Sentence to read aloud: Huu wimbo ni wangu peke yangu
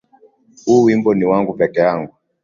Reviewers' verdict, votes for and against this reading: accepted, 9, 2